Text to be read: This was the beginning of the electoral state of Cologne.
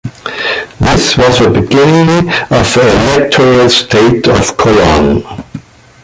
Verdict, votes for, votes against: rejected, 1, 2